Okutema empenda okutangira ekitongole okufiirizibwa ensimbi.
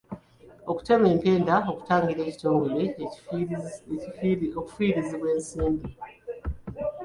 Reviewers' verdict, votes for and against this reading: rejected, 1, 2